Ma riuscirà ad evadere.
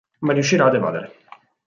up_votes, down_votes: 4, 0